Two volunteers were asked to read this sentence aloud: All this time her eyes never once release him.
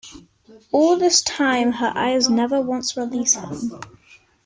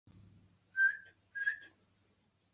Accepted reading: first